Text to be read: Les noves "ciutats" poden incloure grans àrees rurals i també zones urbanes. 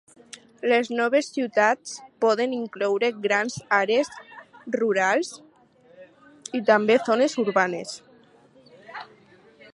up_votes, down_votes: 4, 2